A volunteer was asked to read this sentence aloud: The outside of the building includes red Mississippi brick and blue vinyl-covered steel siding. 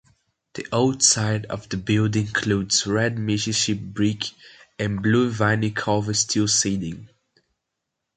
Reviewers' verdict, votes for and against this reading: rejected, 0, 2